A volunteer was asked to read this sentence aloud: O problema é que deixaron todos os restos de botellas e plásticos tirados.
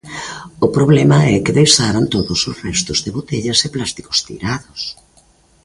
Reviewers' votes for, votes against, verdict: 2, 0, accepted